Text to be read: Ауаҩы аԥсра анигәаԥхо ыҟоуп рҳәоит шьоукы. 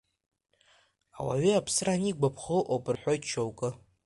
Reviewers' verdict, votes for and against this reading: accepted, 2, 1